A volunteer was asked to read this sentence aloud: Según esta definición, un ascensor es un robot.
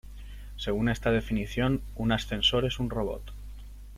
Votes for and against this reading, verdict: 2, 0, accepted